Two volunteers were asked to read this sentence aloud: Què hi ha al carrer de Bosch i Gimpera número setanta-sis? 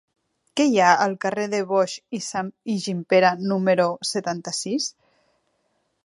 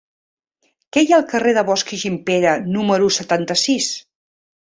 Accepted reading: second